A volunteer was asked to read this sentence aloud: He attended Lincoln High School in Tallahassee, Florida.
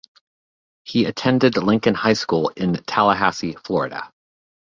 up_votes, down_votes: 1, 2